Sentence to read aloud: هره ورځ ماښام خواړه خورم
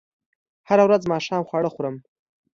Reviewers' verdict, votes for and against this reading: accepted, 2, 0